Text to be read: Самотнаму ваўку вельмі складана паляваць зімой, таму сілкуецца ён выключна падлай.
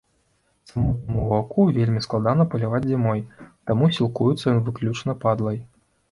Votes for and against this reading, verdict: 1, 2, rejected